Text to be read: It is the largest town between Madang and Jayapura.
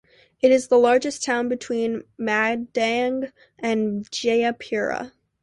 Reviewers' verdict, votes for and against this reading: accepted, 2, 0